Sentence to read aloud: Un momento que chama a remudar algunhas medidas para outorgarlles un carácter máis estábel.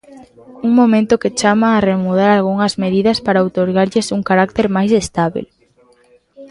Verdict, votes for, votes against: accepted, 2, 0